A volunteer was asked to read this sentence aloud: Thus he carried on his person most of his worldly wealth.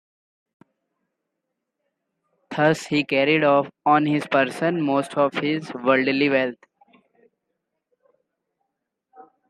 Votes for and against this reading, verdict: 0, 2, rejected